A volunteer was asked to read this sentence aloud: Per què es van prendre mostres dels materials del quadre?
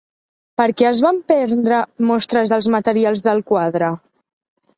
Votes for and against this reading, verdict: 2, 0, accepted